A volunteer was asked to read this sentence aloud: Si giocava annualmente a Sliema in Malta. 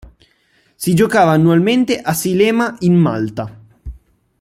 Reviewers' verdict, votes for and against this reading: rejected, 0, 2